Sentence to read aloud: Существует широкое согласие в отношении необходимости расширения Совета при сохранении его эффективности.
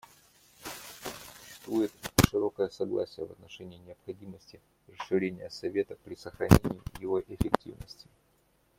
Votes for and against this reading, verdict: 0, 2, rejected